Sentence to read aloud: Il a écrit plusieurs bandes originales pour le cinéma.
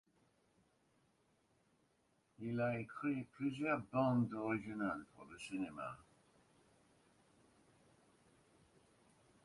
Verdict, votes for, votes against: rejected, 1, 2